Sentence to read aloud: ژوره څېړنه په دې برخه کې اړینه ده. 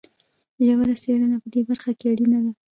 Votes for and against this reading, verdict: 1, 2, rejected